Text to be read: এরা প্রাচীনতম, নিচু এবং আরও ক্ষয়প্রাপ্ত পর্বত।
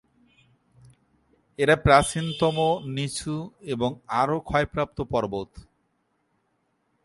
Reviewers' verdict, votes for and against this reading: rejected, 2, 5